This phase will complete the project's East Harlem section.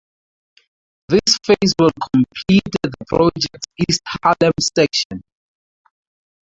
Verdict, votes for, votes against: accepted, 2, 0